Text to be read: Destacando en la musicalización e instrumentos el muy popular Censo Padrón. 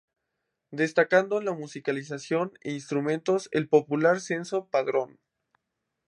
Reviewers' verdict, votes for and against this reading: rejected, 0, 2